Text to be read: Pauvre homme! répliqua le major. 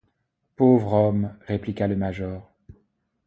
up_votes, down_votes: 2, 0